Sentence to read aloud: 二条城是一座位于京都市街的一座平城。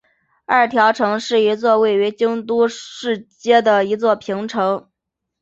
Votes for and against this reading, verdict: 7, 0, accepted